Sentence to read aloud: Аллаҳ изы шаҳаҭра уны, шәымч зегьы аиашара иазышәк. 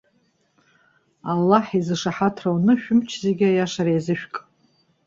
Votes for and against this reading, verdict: 2, 0, accepted